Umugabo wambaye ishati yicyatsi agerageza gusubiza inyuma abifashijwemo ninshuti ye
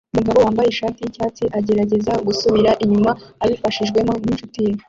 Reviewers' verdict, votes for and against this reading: rejected, 0, 2